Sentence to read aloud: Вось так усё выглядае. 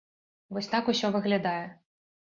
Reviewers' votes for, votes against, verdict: 1, 2, rejected